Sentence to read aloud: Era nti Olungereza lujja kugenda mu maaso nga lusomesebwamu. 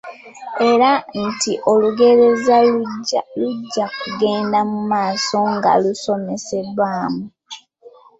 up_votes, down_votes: 1, 2